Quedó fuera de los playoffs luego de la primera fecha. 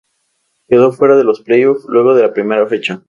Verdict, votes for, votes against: accepted, 4, 0